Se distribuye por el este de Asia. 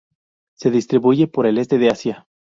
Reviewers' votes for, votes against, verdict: 2, 0, accepted